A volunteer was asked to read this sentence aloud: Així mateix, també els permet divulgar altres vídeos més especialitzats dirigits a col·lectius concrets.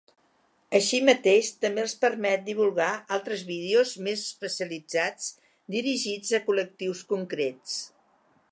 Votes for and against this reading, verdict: 4, 0, accepted